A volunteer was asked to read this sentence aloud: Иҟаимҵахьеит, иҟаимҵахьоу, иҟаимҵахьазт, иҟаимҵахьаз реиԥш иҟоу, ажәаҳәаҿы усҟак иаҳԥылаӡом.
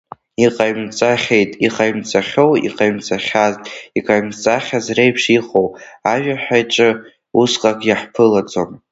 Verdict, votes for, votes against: accepted, 2, 1